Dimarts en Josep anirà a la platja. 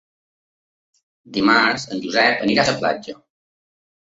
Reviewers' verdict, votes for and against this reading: accepted, 3, 0